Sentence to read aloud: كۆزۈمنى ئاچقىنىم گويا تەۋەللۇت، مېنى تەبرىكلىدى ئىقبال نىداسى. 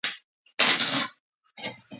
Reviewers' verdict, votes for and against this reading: rejected, 0, 2